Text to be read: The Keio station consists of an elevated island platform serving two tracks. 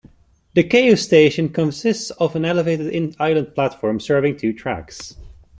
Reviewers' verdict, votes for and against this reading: rejected, 0, 2